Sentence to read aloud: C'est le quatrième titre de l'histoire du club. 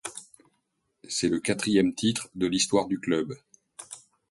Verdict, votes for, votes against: accepted, 2, 0